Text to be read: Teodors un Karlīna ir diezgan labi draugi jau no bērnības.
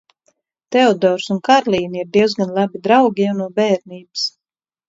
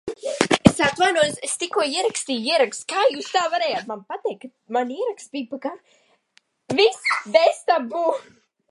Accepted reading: first